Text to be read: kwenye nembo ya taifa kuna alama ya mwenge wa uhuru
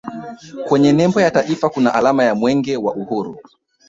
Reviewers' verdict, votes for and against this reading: rejected, 1, 2